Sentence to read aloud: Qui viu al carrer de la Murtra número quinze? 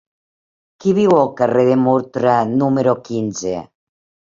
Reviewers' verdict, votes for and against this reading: rejected, 1, 3